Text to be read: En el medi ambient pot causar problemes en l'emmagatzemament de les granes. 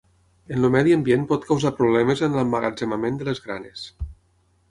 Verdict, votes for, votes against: rejected, 3, 6